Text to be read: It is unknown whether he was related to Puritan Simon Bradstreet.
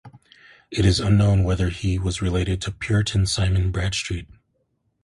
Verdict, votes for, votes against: accepted, 2, 0